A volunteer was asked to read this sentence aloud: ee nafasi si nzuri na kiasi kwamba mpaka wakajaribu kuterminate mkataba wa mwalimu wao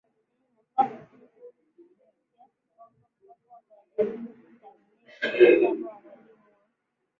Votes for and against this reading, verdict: 0, 2, rejected